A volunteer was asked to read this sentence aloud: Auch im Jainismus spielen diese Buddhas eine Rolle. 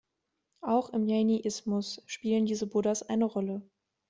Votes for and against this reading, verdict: 0, 2, rejected